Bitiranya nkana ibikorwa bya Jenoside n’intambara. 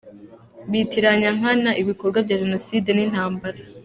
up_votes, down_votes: 2, 0